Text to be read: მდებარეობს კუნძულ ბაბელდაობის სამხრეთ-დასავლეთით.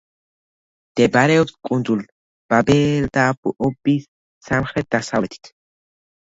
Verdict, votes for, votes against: rejected, 1, 2